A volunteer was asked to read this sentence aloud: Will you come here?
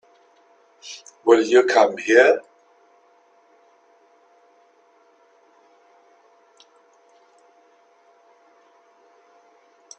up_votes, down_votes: 2, 0